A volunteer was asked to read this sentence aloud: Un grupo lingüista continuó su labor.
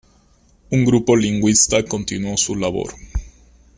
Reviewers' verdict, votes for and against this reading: rejected, 0, 2